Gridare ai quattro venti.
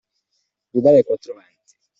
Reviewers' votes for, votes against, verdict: 2, 0, accepted